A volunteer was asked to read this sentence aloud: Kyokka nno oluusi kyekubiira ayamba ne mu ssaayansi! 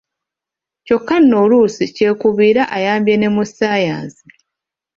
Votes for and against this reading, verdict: 0, 2, rejected